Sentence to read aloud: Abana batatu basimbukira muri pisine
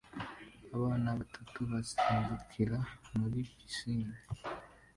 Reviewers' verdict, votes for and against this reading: accepted, 2, 0